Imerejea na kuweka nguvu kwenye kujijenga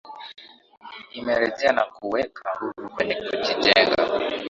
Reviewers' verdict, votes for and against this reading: accepted, 2, 0